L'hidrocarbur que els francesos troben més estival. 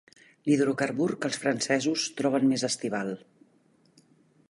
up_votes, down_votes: 2, 0